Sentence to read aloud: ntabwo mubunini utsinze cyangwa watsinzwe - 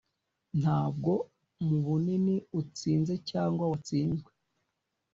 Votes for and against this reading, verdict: 2, 0, accepted